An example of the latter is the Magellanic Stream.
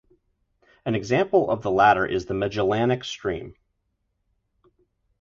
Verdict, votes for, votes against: accepted, 2, 0